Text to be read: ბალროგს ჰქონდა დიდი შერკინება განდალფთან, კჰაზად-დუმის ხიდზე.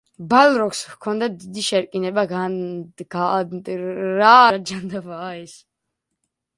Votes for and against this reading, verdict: 0, 2, rejected